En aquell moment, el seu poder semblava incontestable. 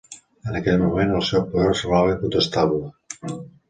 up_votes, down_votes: 1, 2